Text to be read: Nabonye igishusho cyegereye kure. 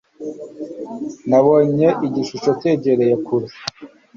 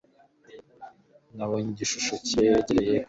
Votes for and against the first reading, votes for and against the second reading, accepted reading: 3, 0, 1, 2, first